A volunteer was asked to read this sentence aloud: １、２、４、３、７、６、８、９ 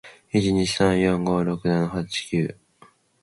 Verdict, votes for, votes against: rejected, 0, 2